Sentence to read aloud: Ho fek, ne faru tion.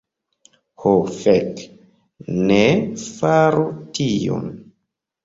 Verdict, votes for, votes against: accepted, 2, 1